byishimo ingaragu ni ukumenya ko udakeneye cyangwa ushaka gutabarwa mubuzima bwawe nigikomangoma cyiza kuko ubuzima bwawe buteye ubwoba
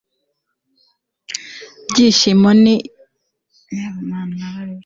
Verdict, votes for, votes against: rejected, 0, 2